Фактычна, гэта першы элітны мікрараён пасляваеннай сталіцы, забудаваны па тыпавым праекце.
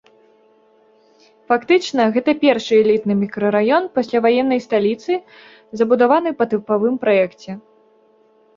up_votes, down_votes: 2, 1